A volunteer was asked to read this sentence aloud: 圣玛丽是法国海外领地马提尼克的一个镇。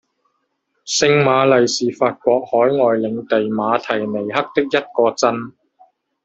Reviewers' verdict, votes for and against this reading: rejected, 0, 2